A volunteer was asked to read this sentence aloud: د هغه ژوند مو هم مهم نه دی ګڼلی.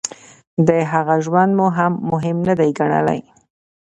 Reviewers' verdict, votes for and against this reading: accepted, 2, 0